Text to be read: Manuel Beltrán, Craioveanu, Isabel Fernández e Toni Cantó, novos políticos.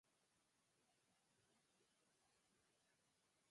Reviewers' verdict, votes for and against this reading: rejected, 0, 6